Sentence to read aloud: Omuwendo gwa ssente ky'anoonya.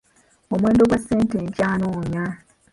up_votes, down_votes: 0, 2